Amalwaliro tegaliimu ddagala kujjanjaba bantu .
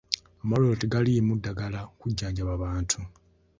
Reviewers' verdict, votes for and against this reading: accepted, 2, 0